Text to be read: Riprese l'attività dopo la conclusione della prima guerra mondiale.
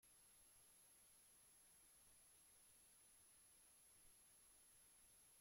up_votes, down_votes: 0, 2